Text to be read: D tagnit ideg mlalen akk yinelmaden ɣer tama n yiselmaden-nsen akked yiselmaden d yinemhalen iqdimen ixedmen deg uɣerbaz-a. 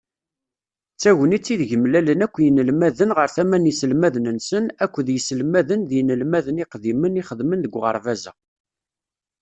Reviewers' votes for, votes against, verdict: 1, 2, rejected